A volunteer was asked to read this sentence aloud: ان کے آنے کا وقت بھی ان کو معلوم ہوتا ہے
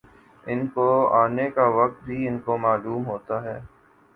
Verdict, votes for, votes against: rejected, 0, 2